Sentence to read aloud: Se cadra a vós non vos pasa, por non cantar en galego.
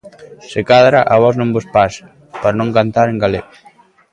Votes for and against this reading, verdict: 2, 0, accepted